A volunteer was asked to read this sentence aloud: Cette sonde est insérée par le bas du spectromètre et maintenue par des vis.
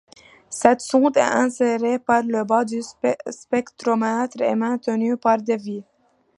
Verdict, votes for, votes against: rejected, 0, 2